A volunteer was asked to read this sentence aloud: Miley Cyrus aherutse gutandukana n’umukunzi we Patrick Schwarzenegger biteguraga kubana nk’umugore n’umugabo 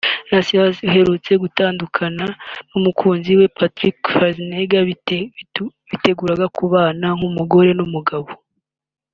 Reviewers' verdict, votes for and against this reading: rejected, 0, 2